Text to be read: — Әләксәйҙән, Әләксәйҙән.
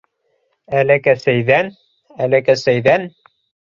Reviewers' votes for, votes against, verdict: 1, 2, rejected